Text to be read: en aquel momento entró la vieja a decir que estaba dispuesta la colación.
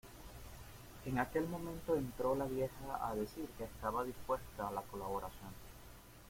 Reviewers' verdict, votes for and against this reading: rejected, 0, 2